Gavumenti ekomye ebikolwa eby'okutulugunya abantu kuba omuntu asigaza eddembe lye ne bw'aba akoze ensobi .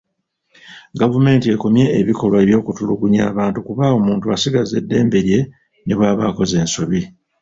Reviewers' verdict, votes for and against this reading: rejected, 1, 2